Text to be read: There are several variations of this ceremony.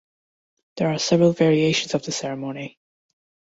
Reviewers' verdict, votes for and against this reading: accepted, 2, 1